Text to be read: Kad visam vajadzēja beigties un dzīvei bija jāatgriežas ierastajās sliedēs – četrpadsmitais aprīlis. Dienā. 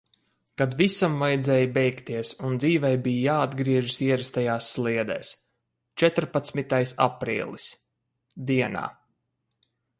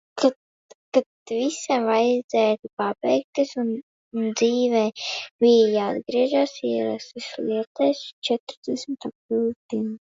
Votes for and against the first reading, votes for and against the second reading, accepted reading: 4, 0, 0, 2, first